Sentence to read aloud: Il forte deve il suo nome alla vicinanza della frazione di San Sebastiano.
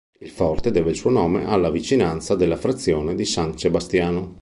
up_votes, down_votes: 2, 1